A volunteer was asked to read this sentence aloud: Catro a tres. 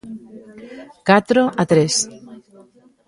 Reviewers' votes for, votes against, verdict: 2, 0, accepted